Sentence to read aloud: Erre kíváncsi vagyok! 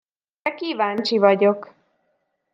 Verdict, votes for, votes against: rejected, 0, 2